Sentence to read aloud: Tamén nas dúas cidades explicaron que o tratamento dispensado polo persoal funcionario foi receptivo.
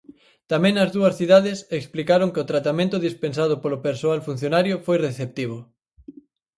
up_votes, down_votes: 4, 0